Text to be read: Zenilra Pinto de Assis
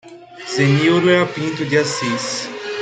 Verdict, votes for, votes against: rejected, 0, 2